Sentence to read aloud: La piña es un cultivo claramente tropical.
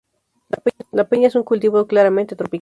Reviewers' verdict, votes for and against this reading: rejected, 0, 4